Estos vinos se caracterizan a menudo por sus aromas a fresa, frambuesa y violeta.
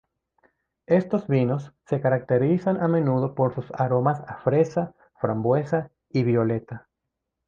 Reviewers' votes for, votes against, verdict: 3, 0, accepted